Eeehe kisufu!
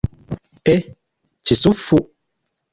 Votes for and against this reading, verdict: 2, 0, accepted